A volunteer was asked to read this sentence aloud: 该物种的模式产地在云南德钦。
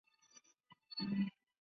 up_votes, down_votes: 0, 2